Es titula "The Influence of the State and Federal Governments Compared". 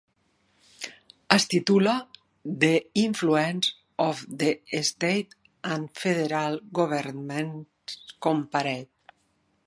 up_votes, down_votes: 0, 2